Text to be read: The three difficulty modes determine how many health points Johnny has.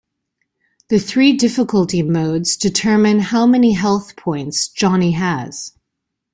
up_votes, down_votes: 2, 0